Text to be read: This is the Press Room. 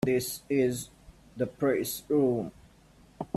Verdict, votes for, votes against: rejected, 2, 4